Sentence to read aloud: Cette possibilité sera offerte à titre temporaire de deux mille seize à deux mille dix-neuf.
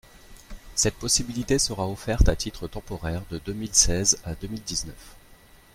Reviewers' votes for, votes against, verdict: 2, 0, accepted